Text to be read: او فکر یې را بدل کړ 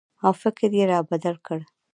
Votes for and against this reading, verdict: 2, 0, accepted